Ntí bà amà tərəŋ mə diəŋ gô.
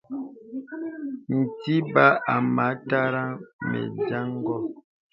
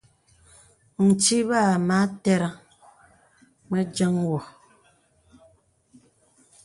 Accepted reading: second